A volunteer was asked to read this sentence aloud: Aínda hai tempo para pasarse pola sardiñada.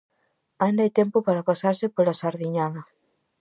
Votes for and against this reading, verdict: 4, 0, accepted